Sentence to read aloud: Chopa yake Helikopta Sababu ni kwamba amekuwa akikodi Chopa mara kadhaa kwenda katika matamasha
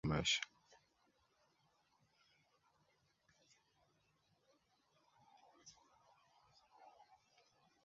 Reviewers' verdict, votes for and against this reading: rejected, 1, 2